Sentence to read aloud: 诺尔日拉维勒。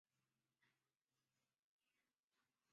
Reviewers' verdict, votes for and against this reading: rejected, 1, 2